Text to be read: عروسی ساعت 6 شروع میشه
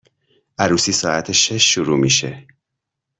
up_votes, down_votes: 0, 2